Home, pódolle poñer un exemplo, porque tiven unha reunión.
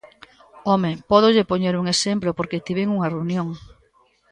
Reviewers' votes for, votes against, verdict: 1, 2, rejected